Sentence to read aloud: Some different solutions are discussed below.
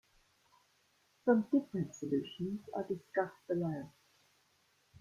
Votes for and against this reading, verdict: 2, 0, accepted